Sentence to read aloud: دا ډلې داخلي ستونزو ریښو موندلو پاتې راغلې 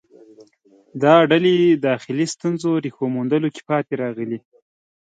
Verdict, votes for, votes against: accepted, 2, 1